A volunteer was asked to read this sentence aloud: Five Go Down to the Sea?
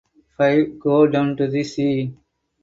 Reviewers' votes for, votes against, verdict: 4, 0, accepted